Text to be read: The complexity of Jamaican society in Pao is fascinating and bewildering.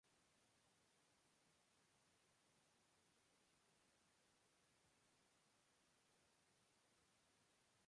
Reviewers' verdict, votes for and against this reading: rejected, 0, 2